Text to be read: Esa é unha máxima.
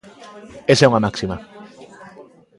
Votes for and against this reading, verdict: 1, 2, rejected